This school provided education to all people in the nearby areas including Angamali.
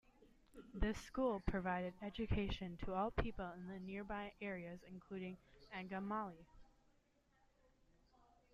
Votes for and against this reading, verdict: 2, 0, accepted